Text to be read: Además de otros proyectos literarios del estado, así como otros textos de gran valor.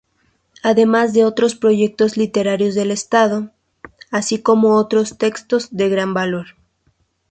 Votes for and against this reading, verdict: 2, 0, accepted